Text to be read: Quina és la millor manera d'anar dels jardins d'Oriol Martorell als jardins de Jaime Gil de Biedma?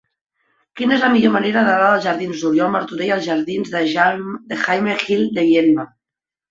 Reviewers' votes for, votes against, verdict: 0, 2, rejected